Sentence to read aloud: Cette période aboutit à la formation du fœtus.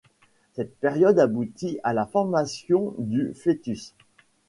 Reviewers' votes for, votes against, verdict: 2, 0, accepted